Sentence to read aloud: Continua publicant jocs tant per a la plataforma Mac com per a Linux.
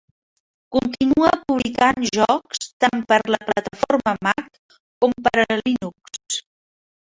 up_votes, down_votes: 2, 1